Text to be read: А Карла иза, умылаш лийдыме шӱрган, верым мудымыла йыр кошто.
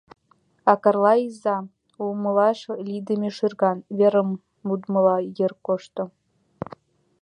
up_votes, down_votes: 0, 2